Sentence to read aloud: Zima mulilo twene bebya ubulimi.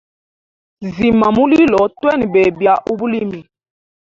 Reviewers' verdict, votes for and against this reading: rejected, 1, 2